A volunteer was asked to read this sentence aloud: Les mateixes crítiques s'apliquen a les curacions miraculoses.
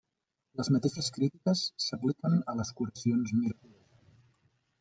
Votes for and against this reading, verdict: 0, 2, rejected